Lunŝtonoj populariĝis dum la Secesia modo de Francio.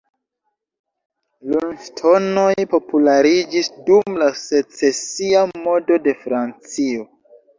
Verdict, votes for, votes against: rejected, 0, 2